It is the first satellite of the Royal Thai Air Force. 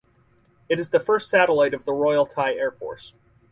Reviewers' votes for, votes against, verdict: 2, 2, rejected